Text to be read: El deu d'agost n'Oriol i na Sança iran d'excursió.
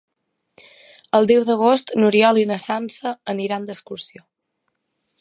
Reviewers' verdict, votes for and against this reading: rejected, 0, 2